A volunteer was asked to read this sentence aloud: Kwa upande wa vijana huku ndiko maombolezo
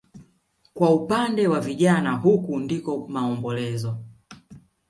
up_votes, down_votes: 2, 0